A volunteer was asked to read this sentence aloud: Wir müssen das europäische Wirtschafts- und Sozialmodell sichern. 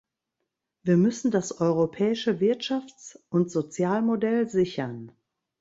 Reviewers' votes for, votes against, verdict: 2, 0, accepted